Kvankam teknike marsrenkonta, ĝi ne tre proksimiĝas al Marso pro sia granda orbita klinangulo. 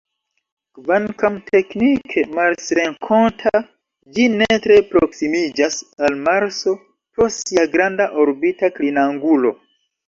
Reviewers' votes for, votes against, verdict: 2, 1, accepted